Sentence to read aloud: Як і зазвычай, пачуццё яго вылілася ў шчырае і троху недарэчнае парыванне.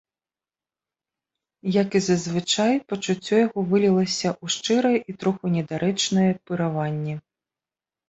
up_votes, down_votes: 2, 0